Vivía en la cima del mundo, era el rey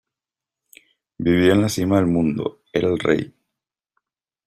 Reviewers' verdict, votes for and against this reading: accepted, 2, 0